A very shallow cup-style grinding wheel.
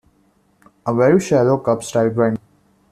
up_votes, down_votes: 0, 2